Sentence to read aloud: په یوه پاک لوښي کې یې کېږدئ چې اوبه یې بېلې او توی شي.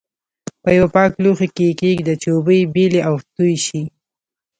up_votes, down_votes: 2, 0